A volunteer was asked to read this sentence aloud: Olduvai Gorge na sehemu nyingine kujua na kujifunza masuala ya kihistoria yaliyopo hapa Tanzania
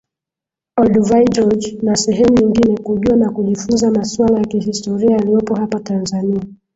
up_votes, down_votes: 0, 2